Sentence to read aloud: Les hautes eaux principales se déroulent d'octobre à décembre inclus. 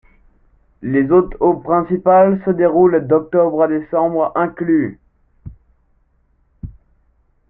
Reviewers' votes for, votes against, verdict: 2, 1, accepted